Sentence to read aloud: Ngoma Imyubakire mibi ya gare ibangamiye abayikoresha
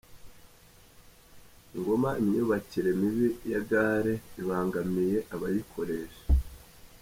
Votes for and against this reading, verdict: 2, 0, accepted